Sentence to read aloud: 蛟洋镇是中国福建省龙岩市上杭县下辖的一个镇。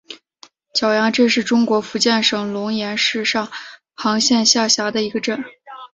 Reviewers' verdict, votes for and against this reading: accepted, 4, 0